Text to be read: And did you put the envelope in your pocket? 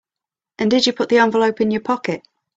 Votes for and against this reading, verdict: 3, 0, accepted